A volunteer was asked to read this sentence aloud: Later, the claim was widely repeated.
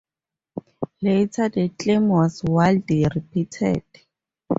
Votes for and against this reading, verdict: 0, 2, rejected